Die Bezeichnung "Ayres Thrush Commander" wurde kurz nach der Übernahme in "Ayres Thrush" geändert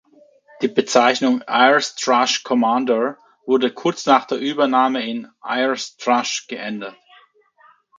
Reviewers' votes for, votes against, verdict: 2, 0, accepted